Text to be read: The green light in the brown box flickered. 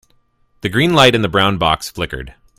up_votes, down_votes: 2, 0